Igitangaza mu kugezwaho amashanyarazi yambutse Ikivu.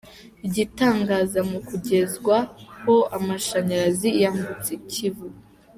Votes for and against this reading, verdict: 3, 0, accepted